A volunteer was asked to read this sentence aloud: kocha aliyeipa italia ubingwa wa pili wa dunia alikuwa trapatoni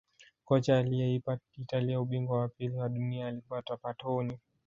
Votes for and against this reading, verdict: 2, 0, accepted